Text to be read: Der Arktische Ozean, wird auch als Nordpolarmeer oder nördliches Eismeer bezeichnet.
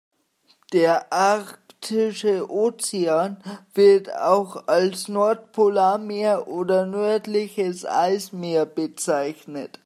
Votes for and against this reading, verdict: 0, 2, rejected